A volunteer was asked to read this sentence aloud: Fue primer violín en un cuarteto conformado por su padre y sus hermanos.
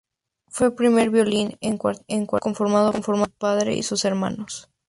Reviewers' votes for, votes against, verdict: 0, 2, rejected